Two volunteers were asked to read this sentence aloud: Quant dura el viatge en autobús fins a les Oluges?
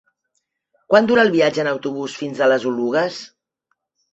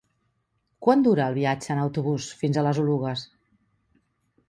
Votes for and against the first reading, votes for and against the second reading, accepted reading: 2, 0, 1, 2, first